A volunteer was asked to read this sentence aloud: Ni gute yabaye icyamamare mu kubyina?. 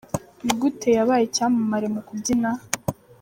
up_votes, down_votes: 2, 0